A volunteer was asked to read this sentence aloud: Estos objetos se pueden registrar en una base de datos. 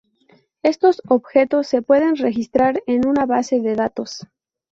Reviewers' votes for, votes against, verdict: 4, 0, accepted